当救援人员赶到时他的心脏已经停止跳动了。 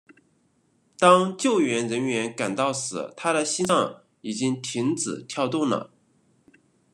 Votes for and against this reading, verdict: 2, 0, accepted